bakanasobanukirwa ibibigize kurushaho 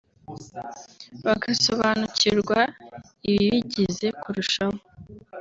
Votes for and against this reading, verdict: 2, 0, accepted